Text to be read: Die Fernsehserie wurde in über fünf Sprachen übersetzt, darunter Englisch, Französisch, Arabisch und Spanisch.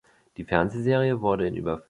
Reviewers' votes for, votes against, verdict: 0, 2, rejected